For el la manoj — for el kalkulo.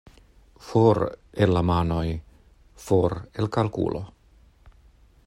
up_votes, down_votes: 2, 0